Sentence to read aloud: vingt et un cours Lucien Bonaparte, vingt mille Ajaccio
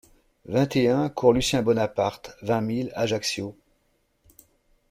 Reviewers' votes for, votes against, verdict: 2, 0, accepted